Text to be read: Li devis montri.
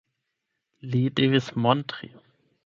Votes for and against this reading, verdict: 4, 8, rejected